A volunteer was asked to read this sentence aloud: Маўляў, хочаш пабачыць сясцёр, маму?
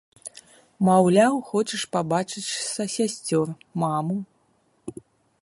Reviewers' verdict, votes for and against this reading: rejected, 0, 2